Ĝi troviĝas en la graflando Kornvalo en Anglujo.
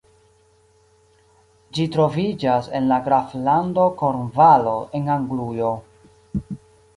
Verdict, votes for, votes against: accepted, 2, 1